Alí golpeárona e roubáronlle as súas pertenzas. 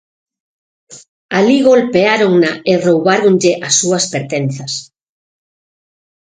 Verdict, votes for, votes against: accepted, 6, 0